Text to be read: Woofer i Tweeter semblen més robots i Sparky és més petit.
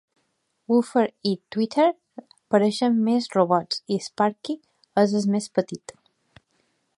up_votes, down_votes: 2, 1